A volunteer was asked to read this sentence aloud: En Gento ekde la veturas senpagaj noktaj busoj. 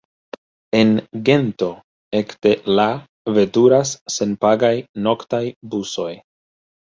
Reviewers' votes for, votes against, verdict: 0, 2, rejected